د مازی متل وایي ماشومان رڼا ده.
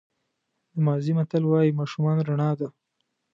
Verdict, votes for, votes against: accepted, 2, 0